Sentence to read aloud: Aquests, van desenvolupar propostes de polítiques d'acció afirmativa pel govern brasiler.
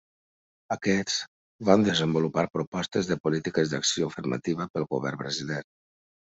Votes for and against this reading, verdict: 2, 1, accepted